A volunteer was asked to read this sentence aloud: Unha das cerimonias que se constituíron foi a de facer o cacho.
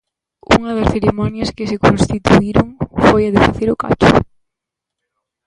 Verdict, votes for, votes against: rejected, 0, 2